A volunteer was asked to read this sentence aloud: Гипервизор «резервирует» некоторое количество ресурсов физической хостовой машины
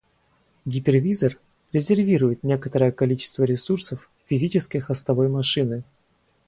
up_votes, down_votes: 2, 2